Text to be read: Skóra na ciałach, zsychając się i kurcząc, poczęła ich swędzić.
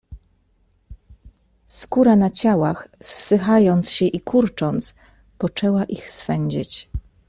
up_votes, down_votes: 0, 2